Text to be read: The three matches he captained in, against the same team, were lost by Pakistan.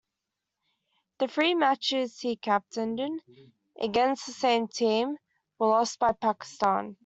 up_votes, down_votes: 2, 0